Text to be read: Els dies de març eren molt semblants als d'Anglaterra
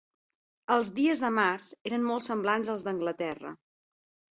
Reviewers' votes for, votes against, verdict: 6, 0, accepted